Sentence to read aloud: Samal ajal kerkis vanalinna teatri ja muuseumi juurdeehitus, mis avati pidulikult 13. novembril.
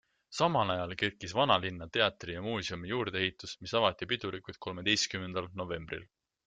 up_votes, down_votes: 0, 2